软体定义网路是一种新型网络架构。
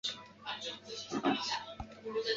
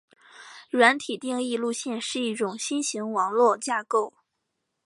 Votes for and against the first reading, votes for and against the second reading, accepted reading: 0, 3, 2, 0, second